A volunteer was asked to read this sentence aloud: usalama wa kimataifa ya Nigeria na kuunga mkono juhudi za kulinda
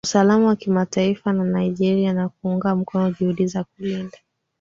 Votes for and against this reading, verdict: 2, 1, accepted